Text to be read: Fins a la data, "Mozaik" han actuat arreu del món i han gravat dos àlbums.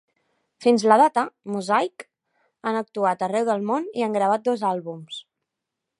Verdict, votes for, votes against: accepted, 2, 1